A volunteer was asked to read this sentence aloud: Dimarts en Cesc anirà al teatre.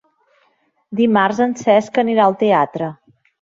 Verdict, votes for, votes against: accepted, 2, 0